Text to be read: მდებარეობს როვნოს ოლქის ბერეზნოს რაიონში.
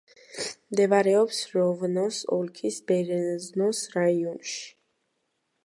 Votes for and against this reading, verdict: 1, 2, rejected